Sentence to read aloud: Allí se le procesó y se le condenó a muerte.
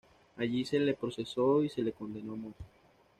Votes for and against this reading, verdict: 1, 2, rejected